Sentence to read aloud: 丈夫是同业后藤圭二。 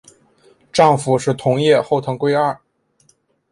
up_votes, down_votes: 7, 1